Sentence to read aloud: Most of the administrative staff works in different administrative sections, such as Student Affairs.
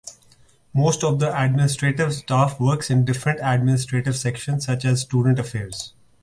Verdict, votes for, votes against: accepted, 2, 0